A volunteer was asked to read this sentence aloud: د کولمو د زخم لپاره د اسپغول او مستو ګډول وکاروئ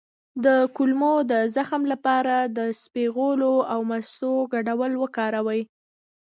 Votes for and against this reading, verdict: 2, 0, accepted